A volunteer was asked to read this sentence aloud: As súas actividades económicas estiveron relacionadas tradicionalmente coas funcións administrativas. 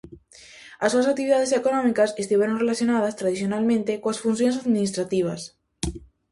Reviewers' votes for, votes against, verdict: 2, 0, accepted